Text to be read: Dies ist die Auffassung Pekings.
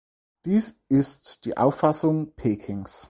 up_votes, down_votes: 4, 0